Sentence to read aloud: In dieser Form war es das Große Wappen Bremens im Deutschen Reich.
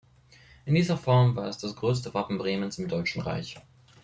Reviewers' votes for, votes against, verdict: 0, 2, rejected